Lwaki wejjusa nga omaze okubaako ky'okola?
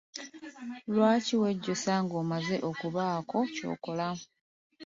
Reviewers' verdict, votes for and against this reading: rejected, 0, 2